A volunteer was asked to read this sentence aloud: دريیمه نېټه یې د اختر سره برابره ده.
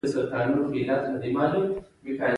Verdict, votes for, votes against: accepted, 2, 1